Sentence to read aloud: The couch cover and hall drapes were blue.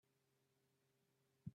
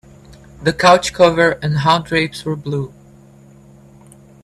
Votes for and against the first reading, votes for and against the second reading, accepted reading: 0, 2, 2, 0, second